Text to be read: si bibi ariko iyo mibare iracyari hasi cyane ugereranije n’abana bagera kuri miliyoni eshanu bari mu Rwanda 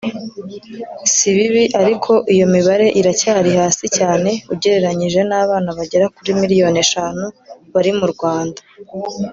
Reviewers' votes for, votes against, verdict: 2, 1, accepted